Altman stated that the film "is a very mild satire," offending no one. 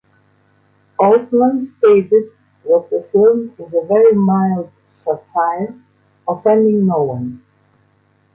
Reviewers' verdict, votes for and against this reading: accepted, 2, 1